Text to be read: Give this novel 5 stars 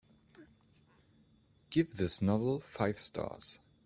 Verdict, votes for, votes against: rejected, 0, 2